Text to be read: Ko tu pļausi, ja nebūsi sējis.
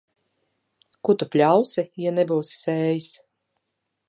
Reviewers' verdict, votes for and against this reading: accepted, 3, 0